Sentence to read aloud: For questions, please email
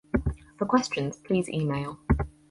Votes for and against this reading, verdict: 4, 0, accepted